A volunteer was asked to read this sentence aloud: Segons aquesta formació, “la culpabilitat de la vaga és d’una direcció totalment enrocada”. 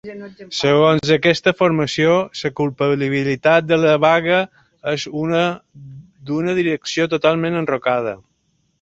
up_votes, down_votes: 0, 2